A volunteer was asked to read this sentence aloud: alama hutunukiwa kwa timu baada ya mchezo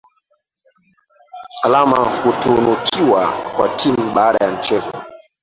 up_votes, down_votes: 0, 2